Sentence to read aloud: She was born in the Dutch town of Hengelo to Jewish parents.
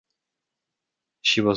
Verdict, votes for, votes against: rejected, 0, 2